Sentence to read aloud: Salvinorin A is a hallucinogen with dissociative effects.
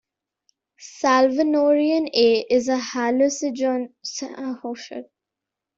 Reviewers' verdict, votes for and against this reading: rejected, 0, 2